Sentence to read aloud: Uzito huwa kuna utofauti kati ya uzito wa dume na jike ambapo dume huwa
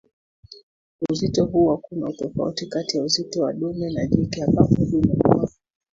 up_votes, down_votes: 2, 1